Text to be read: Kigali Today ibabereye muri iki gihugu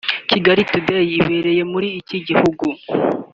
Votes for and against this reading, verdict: 1, 2, rejected